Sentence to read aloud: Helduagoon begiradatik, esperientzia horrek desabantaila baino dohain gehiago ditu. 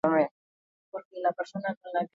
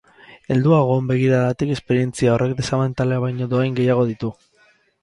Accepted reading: second